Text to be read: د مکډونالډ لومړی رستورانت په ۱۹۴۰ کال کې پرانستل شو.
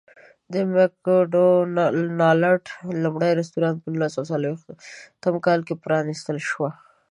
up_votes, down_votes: 0, 2